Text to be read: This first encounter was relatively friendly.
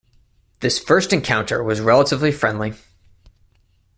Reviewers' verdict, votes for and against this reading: accepted, 2, 0